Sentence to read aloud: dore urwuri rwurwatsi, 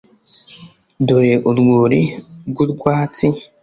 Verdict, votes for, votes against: accepted, 3, 0